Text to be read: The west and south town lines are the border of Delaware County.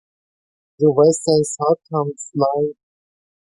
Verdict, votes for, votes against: rejected, 0, 2